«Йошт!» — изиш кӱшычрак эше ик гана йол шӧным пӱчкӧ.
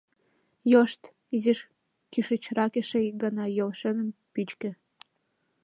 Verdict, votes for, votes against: accepted, 2, 0